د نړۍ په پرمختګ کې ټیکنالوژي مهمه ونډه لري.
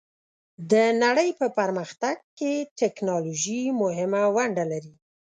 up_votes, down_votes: 2, 0